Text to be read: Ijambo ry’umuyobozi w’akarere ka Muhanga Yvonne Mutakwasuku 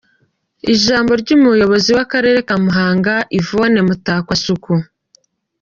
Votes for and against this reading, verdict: 2, 1, accepted